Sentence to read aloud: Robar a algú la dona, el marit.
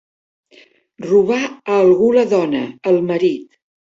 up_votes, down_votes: 2, 0